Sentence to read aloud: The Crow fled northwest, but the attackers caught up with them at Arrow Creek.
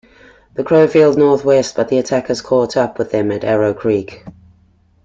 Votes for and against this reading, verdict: 2, 1, accepted